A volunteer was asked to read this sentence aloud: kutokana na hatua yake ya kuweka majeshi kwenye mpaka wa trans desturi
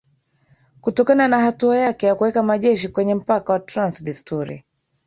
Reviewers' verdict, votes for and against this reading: accepted, 3, 1